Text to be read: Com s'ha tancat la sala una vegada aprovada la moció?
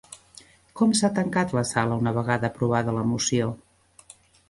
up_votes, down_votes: 2, 0